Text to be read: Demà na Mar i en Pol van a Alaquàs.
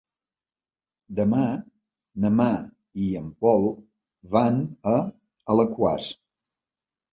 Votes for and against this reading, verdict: 1, 2, rejected